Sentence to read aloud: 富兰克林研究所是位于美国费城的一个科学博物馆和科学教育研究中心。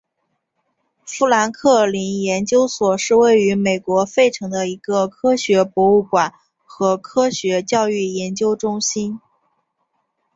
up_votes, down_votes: 5, 0